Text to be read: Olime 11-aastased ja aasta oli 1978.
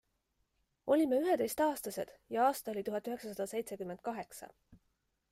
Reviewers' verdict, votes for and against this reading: rejected, 0, 2